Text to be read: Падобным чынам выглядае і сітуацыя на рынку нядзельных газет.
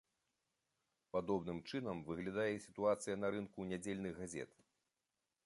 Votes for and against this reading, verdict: 2, 0, accepted